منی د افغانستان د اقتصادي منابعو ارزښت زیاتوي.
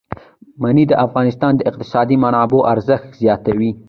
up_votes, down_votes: 1, 2